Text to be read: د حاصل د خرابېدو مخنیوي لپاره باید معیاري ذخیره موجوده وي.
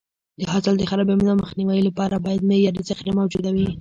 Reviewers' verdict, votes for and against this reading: rejected, 1, 2